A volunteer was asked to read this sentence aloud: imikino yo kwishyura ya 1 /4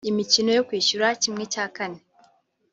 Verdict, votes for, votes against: rejected, 0, 2